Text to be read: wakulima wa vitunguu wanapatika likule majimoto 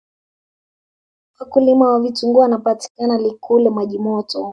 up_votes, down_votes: 0, 2